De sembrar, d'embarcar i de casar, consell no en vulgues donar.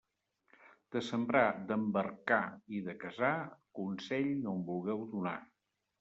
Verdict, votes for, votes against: rejected, 0, 2